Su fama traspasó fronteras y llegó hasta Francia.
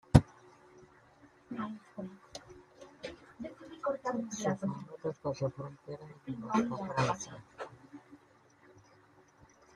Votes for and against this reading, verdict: 0, 2, rejected